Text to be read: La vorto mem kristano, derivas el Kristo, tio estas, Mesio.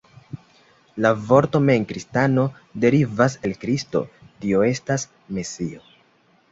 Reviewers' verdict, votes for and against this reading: accepted, 2, 0